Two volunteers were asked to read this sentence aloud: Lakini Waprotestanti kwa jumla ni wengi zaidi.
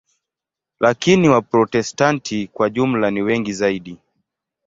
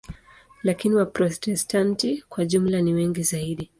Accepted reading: first